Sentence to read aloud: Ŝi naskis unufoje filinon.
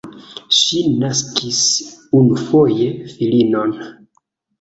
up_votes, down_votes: 2, 1